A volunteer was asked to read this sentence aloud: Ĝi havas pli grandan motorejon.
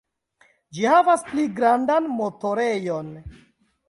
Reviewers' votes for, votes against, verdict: 2, 1, accepted